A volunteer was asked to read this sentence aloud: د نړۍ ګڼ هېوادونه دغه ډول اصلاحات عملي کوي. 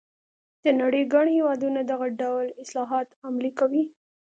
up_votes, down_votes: 2, 0